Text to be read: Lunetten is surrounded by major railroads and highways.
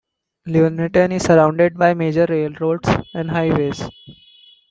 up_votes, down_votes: 2, 1